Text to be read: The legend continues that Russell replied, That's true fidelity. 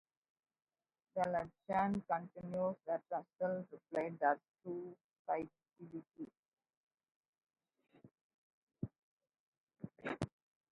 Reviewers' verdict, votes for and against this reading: rejected, 0, 2